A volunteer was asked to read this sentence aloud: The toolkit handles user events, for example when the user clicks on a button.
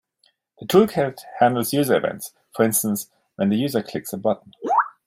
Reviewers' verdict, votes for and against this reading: rejected, 0, 2